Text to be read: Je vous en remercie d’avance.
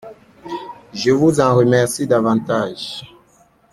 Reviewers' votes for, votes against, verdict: 0, 2, rejected